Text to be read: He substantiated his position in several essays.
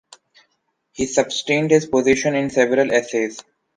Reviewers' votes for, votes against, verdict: 1, 2, rejected